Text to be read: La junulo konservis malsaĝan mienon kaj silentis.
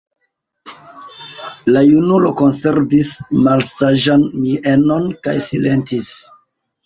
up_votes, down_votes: 2, 0